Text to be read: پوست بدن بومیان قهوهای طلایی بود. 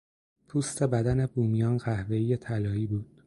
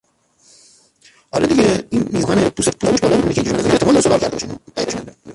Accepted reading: first